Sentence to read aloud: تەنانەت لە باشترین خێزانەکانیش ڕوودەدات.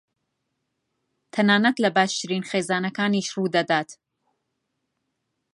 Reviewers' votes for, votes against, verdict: 2, 0, accepted